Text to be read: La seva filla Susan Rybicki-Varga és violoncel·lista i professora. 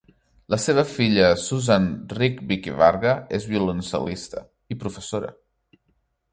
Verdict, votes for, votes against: rejected, 1, 2